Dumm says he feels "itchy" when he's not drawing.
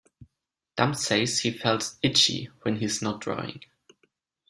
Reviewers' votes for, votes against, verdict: 2, 0, accepted